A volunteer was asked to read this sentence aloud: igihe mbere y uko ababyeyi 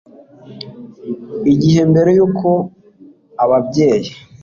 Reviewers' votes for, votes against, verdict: 2, 0, accepted